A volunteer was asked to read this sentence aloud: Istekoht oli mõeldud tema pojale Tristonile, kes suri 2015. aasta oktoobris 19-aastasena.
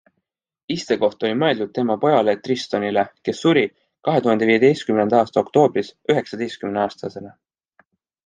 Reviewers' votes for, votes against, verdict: 0, 2, rejected